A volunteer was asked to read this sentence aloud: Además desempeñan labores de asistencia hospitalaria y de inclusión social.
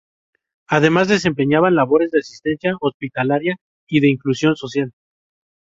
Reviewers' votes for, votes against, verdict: 0, 2, rejected